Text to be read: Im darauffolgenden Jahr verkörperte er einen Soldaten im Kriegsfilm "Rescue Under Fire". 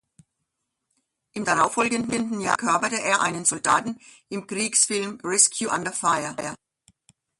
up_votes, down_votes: 0, 2